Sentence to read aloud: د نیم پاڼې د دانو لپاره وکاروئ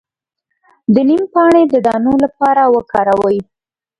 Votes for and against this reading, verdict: 1, 2, rejected